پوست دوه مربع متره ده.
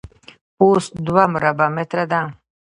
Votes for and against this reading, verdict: 0, 2, rejected